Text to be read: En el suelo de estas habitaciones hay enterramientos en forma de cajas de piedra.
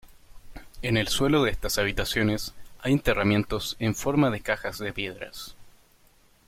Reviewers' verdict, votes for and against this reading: rejected, 1, 2